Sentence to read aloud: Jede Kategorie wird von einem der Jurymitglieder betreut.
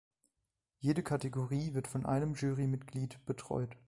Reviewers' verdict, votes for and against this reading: rejected, 2, 4